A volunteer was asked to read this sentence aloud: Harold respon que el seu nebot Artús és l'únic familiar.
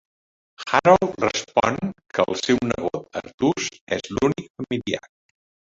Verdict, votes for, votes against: rejected, 0, 2